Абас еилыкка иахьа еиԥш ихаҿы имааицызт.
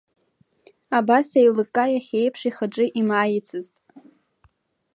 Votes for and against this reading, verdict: 2, 0, accepted